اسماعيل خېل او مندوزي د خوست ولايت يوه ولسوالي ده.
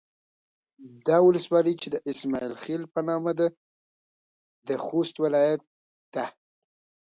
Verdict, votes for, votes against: rejected, 1, 2